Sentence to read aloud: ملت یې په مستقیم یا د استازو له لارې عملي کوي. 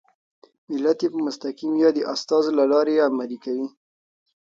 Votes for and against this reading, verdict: 2, 0, accepted